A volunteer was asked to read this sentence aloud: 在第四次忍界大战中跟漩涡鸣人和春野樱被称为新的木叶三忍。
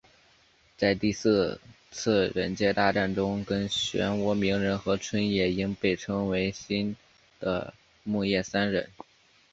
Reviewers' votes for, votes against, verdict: 4, 1, accepted